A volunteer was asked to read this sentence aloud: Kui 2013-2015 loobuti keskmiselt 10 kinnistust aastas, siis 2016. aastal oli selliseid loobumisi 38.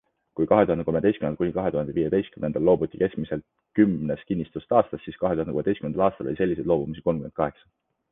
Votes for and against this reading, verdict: 0, 2, rejected